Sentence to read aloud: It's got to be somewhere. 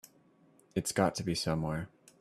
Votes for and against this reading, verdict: 2, 0, accepted